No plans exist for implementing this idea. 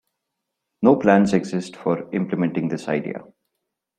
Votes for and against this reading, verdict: 2, 0, accepted